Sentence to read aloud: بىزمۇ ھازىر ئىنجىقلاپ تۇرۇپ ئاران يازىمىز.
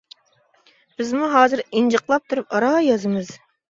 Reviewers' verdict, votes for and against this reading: accepted, 2, 1